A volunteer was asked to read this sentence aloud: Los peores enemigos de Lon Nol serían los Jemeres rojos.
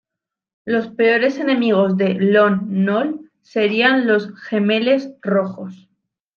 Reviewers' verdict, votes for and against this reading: rejected, 1, 2